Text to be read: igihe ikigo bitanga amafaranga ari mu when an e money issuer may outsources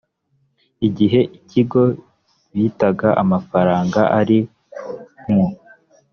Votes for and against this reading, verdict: 0, 2, rejected